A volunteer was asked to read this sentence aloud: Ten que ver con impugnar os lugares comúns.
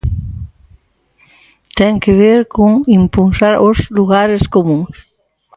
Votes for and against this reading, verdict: 0, 4, rejected